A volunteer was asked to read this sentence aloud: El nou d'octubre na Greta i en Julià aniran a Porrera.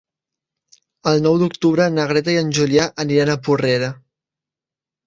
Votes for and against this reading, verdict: 4, 0, accepted